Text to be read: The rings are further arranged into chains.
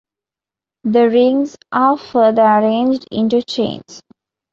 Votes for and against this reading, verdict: 2, 0, accepted